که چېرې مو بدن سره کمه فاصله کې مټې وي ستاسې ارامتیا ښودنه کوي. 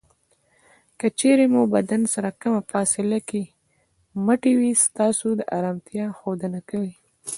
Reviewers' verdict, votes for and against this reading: accepted, 2, 1